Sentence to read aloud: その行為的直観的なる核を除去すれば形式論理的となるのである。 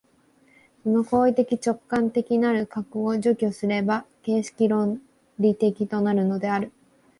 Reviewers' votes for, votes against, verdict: 2, 0, accepted